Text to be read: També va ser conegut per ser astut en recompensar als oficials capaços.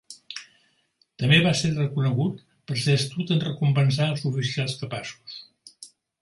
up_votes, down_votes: 0, 2